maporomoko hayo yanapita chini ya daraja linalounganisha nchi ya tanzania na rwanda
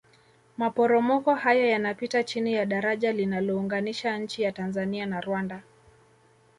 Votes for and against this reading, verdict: 2, 0, accepted